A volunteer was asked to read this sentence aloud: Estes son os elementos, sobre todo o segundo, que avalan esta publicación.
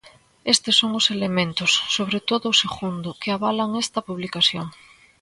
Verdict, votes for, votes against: accepted, 2, 0